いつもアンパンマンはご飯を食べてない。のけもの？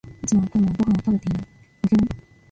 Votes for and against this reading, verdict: 0, 2, rejected